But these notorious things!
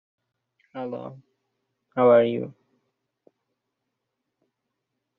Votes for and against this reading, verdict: 0, 2, rejected